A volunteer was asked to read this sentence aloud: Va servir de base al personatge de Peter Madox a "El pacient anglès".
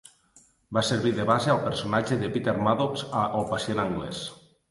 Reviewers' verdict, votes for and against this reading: accepted, 2, 0